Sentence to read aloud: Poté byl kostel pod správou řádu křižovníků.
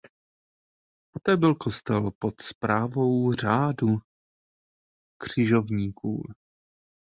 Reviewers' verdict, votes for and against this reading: accepted, 2, 1